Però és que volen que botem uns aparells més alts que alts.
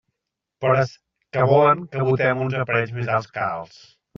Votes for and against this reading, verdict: 0, 2, rejected